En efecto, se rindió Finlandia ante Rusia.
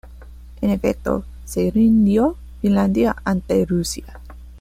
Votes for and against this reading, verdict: 2, 0, accepted